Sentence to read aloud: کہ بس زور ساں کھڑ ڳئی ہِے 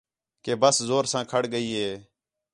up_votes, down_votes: 2, 0